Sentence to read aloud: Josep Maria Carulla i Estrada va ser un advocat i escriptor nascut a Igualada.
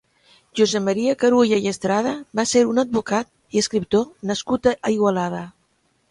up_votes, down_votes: 1, 2